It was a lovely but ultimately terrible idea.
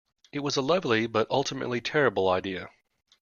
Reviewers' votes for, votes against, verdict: 2, 0, accepted